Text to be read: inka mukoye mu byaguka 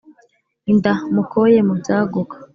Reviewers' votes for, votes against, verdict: 1, 2, rejected